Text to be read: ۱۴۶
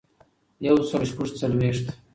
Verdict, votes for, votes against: rejected, 0, 2